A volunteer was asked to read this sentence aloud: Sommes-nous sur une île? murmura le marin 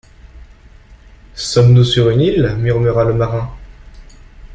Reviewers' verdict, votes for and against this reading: accepted, 2, 0